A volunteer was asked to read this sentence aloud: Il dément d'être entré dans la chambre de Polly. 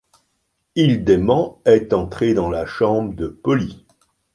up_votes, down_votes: 0, 2